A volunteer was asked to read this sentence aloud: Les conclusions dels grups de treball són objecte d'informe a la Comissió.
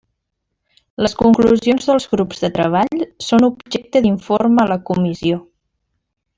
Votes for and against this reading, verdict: 1, 2, rejected